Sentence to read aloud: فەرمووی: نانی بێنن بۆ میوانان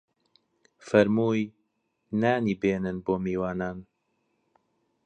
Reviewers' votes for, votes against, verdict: 2, 1, accepted